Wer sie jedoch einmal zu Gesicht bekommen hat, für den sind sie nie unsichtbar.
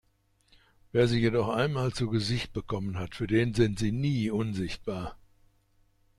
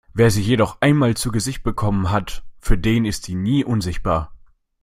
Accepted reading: first